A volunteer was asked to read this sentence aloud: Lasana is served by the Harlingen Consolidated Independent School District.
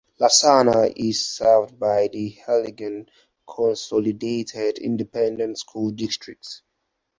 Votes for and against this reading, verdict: 4, 0, accepted